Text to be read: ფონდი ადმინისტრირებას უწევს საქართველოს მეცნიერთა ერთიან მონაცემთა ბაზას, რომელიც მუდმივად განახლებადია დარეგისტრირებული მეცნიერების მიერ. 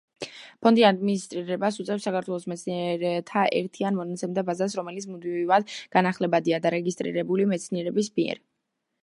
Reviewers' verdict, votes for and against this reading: rejected, 1, 2